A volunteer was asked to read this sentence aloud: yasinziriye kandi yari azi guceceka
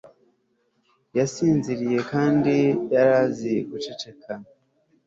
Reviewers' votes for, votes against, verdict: 3, 0, accepted